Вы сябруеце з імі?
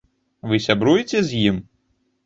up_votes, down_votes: 0, 2